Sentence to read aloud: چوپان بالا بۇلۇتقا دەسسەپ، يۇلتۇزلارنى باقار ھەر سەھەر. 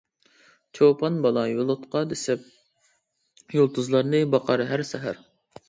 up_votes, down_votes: 0, 2